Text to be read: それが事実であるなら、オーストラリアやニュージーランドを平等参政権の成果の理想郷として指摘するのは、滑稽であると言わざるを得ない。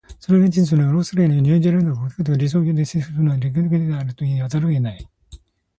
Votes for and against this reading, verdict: 0, 2, rejected